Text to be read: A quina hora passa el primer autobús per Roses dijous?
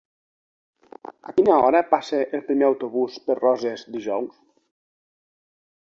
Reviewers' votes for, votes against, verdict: 2, 0, accepted